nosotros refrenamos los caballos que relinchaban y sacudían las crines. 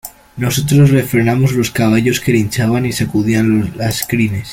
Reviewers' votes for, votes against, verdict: 1, 2, rejected